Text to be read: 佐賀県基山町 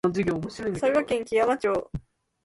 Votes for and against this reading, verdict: 3, 1, accepted